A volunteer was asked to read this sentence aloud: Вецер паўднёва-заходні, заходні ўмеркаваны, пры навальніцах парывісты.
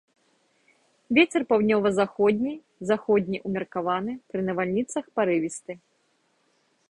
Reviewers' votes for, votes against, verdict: 2, 0, accepted